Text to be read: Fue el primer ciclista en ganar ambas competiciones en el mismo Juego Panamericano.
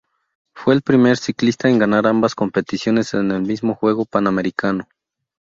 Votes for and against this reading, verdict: 2, 0, accepted